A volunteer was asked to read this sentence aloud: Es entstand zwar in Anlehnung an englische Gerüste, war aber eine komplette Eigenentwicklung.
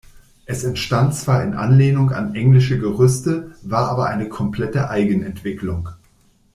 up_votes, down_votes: 2, 0